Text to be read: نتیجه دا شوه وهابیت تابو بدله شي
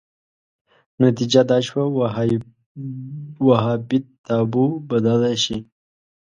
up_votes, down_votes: 0, 2